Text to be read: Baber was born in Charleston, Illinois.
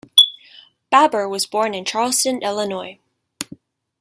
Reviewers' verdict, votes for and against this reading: accepted, 2, 0